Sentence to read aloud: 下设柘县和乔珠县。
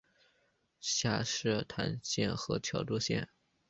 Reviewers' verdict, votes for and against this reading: accepted, 2, 1